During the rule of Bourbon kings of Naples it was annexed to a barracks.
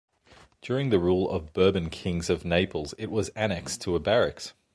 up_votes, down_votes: 2, 0